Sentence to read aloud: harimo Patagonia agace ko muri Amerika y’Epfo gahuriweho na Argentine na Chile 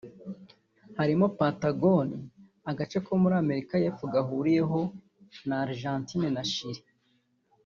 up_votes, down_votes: 1, 2